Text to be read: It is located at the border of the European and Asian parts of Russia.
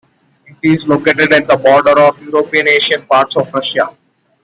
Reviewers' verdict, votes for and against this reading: rejected, 1, 2